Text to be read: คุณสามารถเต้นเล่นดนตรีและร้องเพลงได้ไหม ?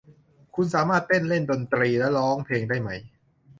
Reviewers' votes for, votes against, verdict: 2, 0, accepted